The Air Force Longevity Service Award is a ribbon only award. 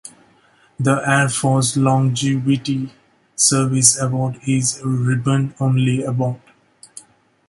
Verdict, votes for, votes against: accepted, 2, 1